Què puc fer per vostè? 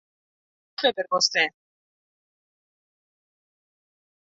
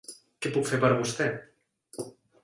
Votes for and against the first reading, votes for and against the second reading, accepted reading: 0, 2, 3, 1, second